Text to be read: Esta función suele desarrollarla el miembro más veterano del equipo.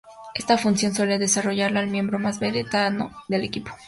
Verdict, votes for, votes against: rejected, 0, 2